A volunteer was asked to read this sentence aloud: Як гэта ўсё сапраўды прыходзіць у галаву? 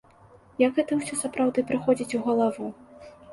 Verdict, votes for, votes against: accepted, 2, 0